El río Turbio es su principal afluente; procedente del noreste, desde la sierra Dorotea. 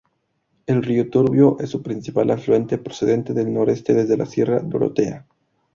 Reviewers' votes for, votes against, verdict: 2, 0, accepted